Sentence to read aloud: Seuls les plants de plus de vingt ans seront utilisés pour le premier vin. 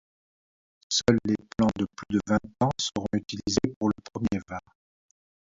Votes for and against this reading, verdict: 2, 0, accepted